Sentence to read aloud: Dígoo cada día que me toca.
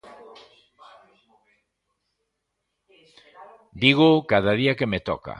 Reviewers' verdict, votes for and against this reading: rejected, 0, 2